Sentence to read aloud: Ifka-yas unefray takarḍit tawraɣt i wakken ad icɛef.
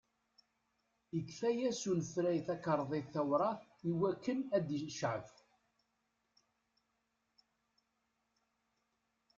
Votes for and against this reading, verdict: 1, 2, rejected